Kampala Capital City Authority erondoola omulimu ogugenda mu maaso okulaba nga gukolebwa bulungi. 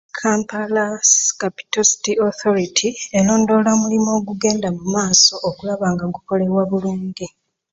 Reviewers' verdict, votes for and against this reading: accepted, 2, 0